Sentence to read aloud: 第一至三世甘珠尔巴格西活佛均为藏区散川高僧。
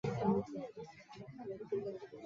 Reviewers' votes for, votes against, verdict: 1, 5, rejected